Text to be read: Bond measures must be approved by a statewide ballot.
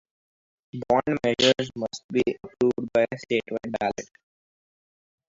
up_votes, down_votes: 2, 2